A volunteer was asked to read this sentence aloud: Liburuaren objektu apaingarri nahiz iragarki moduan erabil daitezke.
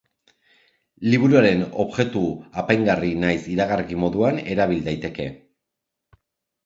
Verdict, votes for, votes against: rejected, 0, 2